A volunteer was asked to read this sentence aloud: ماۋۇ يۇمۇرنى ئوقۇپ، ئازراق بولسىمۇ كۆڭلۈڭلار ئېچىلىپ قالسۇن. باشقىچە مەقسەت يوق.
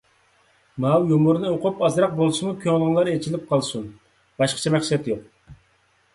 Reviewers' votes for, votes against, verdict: 2, 0, accepted